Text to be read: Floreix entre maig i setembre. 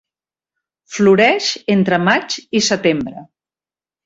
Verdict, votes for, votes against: accepted, 3, 0